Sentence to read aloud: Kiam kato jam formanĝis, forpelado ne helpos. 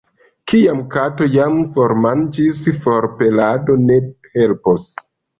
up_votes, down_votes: 2, 0